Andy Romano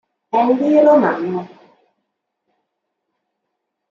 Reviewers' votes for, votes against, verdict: 1, 2, rejected